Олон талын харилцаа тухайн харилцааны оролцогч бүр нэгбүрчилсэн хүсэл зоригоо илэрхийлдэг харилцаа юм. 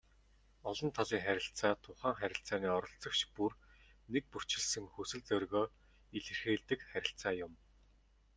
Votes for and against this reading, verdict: 2, 1, accepted